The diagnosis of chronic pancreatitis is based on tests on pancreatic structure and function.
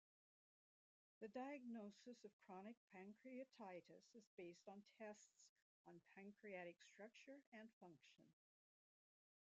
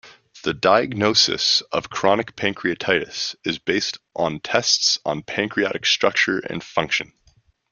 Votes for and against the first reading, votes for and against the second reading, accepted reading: 0, 2, 2, 0, second